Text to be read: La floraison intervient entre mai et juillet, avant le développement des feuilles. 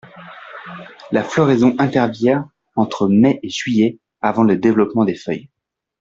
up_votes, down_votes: 2, 0